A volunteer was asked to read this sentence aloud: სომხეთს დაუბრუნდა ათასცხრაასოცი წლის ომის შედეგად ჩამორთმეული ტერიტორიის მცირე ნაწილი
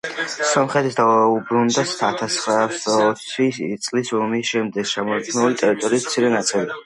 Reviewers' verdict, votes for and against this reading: rejected, 1, 2